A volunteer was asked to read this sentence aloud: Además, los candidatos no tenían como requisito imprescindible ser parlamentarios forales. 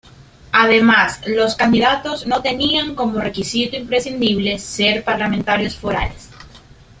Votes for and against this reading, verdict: 2, 0, accepted